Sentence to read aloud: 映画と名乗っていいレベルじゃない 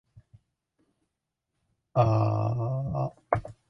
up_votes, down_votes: 1, 2